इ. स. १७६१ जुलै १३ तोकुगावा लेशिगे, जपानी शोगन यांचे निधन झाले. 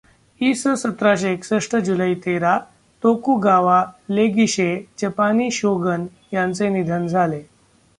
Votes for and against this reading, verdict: 0, 2, rejected